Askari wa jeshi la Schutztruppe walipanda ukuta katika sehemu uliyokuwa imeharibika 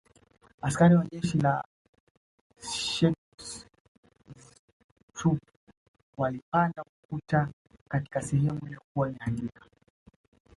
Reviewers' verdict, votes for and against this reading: rejected, 0, 2